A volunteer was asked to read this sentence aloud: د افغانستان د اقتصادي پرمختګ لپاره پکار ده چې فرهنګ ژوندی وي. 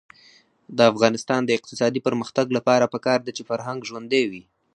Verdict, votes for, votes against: accepted, 4, 2